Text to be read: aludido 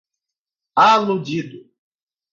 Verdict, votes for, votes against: rejected, 2, 2